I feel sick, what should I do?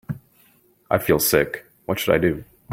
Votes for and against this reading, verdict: 3, 0, accepted